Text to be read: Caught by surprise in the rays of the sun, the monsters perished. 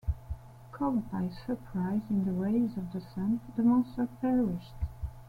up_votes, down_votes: 0, 2